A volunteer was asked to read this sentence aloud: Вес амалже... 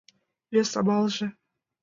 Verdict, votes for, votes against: accepted, 2, 0